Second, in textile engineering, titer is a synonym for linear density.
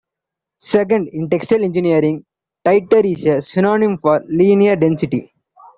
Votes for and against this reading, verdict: 2, 0, accepted